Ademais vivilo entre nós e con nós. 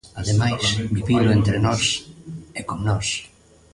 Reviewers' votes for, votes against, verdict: 1, 2, rejected